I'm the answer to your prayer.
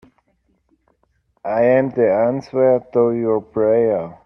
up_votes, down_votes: 1, 2